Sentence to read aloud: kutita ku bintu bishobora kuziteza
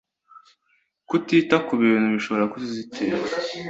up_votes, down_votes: 2, 0